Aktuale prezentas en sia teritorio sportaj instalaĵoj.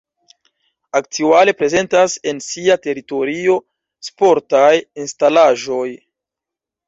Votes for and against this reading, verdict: 2, 0, accepted